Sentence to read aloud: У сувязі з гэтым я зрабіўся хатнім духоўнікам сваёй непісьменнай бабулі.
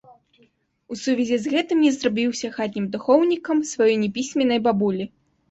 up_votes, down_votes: 1, 2